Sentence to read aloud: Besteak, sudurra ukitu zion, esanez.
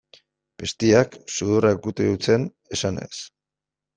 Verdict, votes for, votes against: rejected, 0, 2